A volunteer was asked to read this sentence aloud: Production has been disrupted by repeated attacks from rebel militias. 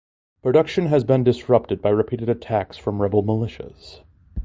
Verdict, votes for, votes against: accepted, 2, 0